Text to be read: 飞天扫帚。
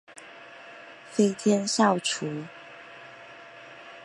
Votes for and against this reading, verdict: 2, 0, accepted